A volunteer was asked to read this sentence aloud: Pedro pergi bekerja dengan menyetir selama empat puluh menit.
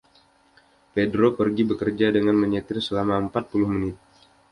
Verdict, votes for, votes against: accepted, 2, 0